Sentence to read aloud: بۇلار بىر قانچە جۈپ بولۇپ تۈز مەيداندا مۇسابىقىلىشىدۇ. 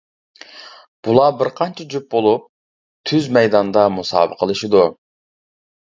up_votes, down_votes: 2, 0